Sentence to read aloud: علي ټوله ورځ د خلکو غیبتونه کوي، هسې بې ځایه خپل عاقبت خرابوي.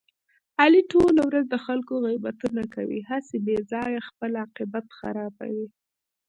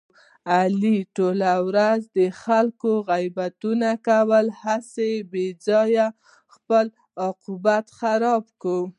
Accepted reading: first